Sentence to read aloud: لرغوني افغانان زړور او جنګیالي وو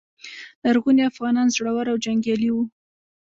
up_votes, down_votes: 0, 2